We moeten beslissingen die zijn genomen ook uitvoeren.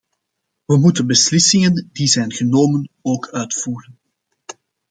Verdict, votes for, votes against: accepted, 2, 0